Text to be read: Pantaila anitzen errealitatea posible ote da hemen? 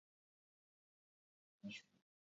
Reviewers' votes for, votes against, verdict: 0, 4, rejected